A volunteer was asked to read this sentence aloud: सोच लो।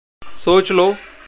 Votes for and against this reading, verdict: 2, 0, accepted